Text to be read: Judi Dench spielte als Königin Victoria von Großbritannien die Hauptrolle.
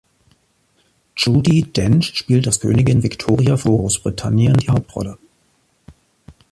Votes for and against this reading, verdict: 2, 1, accepted